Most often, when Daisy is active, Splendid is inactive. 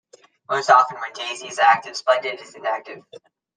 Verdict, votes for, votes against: accepted, 2, 0